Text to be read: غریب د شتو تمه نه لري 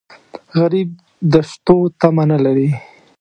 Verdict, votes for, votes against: rejected, 0, 2